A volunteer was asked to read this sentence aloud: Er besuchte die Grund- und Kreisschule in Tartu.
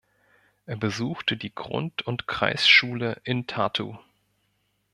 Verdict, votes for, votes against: accepted, 2, 0